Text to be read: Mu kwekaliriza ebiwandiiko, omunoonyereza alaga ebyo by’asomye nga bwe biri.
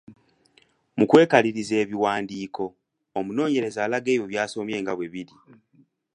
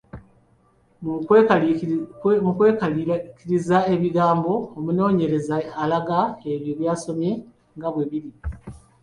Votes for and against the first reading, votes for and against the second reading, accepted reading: 2, 0, 1, 2, first